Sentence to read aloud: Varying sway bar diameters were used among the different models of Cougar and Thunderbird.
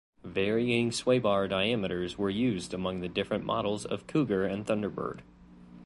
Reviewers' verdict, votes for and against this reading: accepted, 2, 0